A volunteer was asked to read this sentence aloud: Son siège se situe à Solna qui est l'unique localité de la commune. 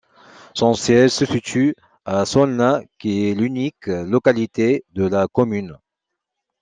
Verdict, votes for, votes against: accepted, 2, 0